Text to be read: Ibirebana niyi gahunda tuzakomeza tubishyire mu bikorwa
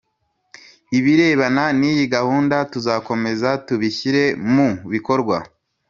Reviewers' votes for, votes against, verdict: 2, 0, accepted